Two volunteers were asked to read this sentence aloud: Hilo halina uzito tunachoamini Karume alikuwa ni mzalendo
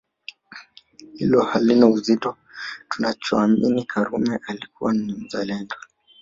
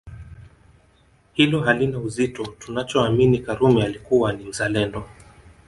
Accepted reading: second